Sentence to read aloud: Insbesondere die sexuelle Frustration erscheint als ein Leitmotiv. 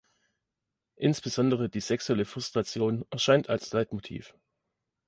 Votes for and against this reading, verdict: 1, 2, rejected